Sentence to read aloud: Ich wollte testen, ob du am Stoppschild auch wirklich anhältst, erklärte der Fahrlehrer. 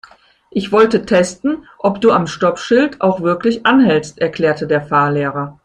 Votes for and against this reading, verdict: 2, 0, accepted